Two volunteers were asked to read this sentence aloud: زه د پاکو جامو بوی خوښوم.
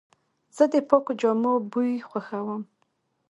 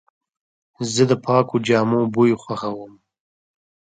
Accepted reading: second